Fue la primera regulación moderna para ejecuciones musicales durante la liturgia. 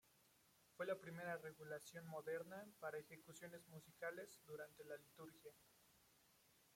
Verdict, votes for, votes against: accepted, 2, 1